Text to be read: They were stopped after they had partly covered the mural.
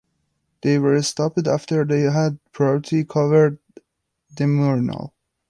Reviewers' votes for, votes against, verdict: 1, 2, rejected